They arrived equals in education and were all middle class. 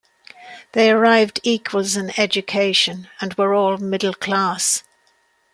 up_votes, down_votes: 2, 0